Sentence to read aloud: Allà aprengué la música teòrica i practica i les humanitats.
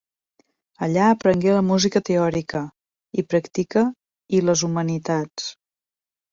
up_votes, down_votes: 0, 2